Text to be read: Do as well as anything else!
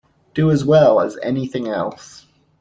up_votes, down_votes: 2, 0